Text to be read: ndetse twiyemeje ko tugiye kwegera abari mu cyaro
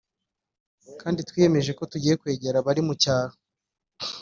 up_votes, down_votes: 1, 2